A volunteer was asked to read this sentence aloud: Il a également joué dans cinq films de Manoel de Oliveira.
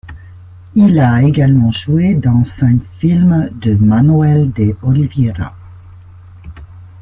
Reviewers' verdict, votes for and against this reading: rejected, 0, 2